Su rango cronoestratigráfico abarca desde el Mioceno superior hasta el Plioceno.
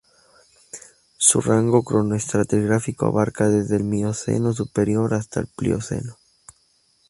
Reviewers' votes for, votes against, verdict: 2, 0, accepted